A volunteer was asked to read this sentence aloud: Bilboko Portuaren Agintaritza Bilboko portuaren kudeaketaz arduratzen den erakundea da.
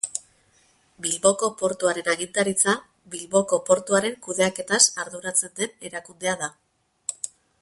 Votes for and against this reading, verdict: 6, 0, accepted